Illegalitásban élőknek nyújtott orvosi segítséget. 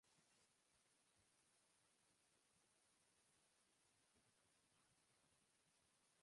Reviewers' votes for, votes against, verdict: 0, 2, rejected